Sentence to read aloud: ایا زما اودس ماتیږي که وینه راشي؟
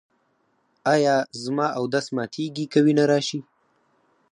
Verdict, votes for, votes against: rejected, 0, 4